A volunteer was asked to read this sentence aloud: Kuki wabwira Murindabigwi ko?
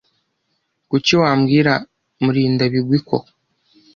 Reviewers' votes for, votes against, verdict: 0, 3, rejected